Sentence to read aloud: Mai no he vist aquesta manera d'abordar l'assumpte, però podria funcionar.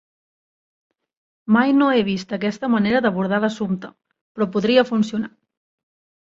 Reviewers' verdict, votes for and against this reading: accepted, 3, 0